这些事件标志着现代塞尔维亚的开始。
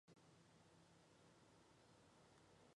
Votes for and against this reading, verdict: 1, 2, rejected